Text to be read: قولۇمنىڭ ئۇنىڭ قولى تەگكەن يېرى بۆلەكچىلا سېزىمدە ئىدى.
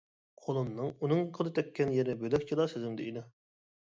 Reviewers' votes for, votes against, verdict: 2, 1, accepted